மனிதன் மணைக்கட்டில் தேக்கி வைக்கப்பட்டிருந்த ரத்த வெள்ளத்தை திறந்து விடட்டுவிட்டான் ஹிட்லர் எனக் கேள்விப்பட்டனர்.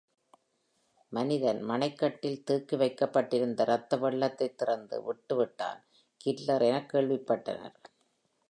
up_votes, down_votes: 2, 1